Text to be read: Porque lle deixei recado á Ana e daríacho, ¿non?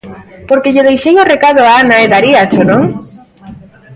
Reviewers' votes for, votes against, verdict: 0, 2, rejected